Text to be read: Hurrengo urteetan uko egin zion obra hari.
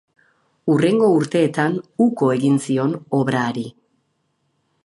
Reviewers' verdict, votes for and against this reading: accepted, 4, 0